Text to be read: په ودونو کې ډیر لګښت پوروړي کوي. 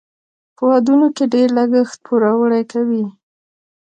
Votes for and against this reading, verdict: 2, 0, accepted